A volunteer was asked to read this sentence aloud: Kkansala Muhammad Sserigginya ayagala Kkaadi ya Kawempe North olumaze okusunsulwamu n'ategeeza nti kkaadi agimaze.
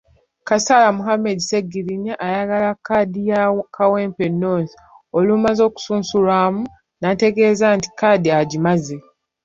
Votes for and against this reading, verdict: 0, 2, rejected